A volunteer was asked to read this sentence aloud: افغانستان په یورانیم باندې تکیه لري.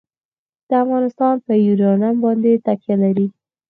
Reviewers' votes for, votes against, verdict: 4, 2, accepted